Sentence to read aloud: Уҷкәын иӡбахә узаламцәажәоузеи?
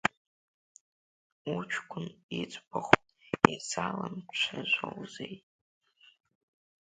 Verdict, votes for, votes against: rejected, 0, 2